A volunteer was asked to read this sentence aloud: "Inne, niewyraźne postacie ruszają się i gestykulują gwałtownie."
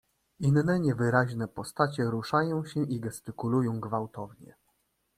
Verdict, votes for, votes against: accepted, 2, 0